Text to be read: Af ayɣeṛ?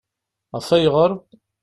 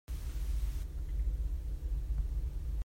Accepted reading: first